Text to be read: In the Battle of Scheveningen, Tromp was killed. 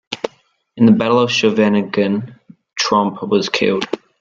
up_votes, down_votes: 2, 0